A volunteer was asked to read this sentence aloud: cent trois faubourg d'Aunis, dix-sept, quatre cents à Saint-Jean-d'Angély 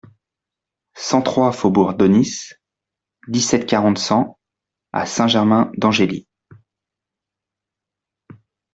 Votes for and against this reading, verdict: 0, 2, rejected